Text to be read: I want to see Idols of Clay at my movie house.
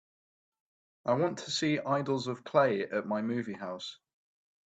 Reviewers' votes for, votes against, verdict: 3, 0, accepted